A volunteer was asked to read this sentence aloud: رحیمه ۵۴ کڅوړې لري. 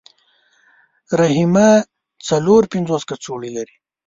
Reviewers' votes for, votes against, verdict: 0, 2, rejected